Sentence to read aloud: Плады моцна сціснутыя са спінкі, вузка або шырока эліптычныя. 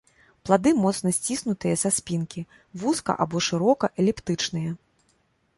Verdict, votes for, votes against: accepted, 2, 0